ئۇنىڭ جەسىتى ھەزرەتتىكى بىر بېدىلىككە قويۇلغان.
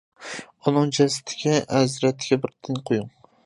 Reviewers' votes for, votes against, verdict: 0, 2, rejected